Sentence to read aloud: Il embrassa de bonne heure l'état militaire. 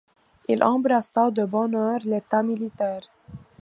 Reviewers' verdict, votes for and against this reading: accepted, 2, 0